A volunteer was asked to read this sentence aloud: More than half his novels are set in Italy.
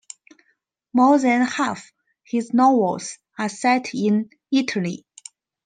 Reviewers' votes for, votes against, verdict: 2, 1, accepted